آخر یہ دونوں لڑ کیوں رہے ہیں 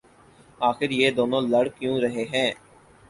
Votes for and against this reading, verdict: 4, 0, accepted